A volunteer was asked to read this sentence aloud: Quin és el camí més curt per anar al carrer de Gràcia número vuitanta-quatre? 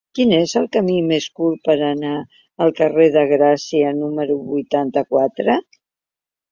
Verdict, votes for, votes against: accepted, 2, 0